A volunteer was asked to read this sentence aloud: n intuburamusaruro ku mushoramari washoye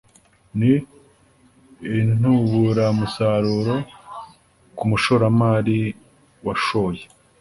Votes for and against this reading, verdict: 2, 0, accepted